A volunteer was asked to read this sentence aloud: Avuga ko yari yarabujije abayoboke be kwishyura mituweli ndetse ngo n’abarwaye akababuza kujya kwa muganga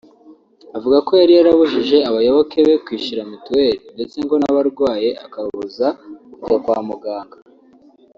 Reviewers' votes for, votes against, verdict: 2, 0, accepted